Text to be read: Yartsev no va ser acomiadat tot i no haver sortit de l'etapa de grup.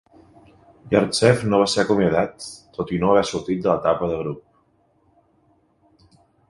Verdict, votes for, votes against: accepted, 2, 1